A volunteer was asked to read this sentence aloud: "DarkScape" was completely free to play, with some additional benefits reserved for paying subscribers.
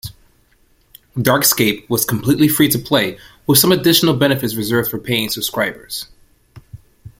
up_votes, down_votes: 2, 0